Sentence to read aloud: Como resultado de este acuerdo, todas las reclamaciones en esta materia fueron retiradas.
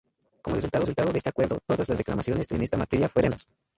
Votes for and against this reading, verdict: 0, 2, rejected